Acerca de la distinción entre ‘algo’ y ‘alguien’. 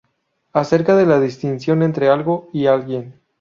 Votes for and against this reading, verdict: 2, 0, accepted